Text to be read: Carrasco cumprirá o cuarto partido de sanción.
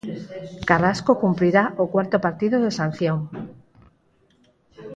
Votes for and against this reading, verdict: 0, 4, rejected